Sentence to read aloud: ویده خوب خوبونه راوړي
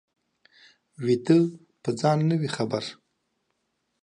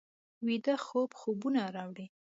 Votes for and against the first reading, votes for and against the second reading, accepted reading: 0, 2, 2, 1, second